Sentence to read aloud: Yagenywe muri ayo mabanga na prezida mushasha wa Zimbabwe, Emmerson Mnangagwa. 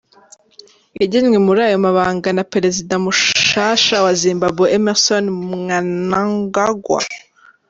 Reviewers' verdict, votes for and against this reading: rejected, 1, 3